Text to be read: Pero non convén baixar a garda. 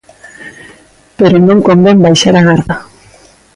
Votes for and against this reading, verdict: 3, 0, accepted